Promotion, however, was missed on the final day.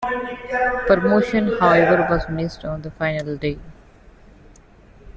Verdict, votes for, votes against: accepted, 2, 1